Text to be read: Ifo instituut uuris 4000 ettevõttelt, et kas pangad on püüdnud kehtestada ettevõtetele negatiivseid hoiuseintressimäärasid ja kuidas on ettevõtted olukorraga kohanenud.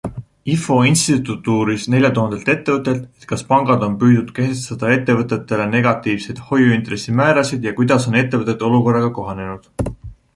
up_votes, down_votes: 0, 2